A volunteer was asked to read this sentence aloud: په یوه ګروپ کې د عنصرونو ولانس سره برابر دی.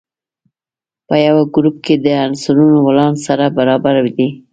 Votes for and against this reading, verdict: 2, 0, accepted